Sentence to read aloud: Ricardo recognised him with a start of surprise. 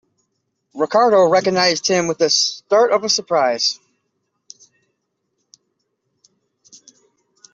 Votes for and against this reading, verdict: 2, 1, accepted